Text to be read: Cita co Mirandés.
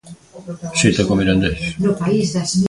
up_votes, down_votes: 1, 2